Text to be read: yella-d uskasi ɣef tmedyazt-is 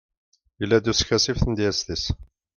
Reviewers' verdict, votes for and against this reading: accepted, 2, 0